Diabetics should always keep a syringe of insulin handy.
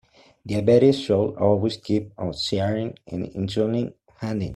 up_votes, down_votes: 0, 2